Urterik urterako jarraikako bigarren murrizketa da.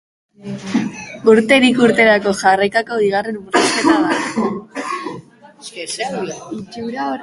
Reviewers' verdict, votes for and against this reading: rejected, 0, 3